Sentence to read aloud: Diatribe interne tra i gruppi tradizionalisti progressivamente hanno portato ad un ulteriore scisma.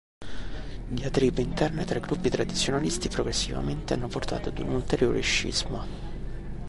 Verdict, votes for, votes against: accepted, 2, 0